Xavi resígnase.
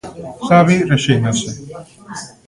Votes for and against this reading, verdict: 1, 2, rejected